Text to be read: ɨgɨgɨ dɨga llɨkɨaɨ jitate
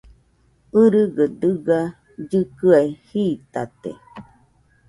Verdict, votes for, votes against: accepted, 2, 0